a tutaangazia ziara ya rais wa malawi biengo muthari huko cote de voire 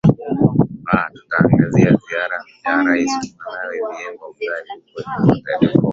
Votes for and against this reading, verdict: 3, 5, rejected